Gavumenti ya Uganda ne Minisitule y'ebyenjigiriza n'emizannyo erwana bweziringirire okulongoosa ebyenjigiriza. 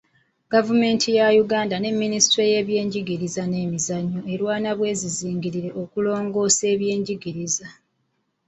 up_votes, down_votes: 2, 0